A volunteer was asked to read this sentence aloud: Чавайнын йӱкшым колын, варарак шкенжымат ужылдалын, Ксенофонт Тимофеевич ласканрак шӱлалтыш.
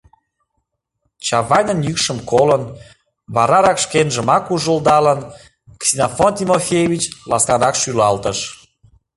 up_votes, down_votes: 0, 2